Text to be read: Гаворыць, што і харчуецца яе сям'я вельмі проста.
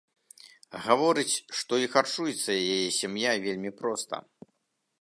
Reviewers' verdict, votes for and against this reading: rejected, 1, 2